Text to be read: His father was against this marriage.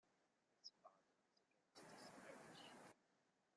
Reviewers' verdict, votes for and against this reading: rejected, 0, 3